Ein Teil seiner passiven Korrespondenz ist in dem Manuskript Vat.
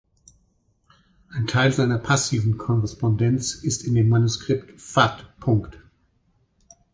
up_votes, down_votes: 2, 4